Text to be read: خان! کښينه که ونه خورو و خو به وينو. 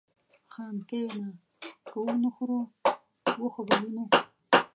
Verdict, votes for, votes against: rejected, 1, 2